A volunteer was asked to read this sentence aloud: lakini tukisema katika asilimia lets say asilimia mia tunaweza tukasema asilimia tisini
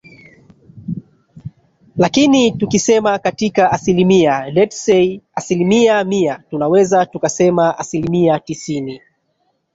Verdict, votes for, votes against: rejected, 0, 2